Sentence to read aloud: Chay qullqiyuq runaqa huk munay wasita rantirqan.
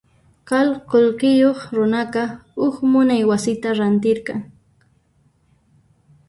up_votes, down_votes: 1, 2